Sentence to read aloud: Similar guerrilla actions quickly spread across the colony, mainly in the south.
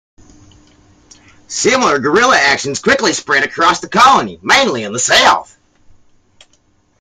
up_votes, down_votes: 0, 2